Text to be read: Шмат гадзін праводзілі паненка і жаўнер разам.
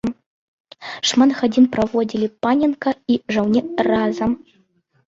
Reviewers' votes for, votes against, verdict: 0, 2, rejected